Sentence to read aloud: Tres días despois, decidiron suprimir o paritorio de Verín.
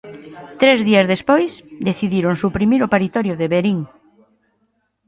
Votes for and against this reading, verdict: 2, 0, accepted